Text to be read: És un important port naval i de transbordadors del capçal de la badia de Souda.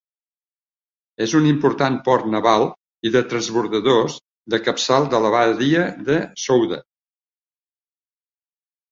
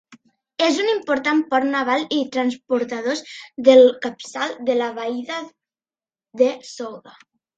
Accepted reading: first